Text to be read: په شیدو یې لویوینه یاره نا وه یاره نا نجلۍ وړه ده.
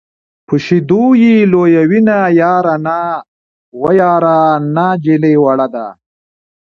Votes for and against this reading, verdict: 2, 0, accepted